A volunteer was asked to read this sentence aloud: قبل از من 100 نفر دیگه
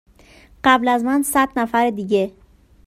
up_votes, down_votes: 0, 2